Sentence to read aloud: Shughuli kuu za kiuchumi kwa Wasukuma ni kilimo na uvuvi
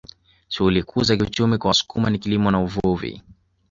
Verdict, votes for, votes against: accepted, 2, 0